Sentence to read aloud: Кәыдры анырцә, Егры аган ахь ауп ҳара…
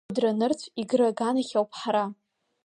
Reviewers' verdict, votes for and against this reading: rejected, 1, 2